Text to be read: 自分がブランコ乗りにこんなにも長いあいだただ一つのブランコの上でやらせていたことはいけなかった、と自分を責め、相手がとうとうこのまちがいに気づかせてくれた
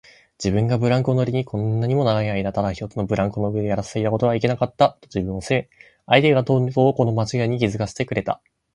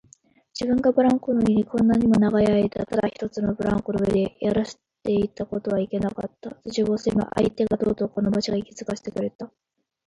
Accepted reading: first